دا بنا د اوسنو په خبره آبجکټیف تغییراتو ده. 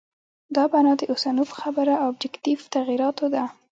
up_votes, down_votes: 2, 0